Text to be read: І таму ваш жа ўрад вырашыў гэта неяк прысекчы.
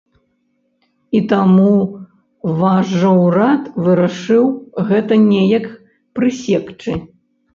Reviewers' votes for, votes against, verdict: 0, 2, rejected